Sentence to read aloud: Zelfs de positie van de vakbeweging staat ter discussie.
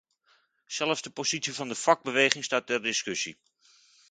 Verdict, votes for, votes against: accepted, 2, 0